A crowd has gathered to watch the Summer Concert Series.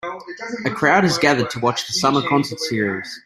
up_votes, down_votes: 1, 2